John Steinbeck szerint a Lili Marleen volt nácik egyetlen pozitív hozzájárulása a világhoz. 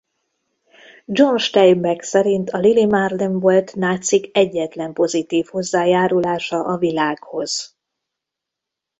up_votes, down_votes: 1, 2